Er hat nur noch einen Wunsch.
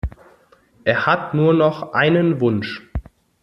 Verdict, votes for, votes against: accepted, 2, 0